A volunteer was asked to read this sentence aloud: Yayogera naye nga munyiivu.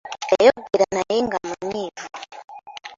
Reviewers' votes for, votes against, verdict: 2, 0, accepted